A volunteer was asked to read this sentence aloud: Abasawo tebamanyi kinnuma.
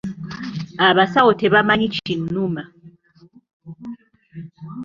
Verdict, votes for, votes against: rejected, 0, 2